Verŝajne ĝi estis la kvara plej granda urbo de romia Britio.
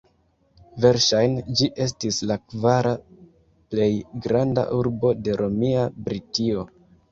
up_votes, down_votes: 0, 2